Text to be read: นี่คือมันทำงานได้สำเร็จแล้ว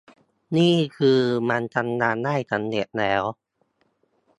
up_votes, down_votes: 2, 0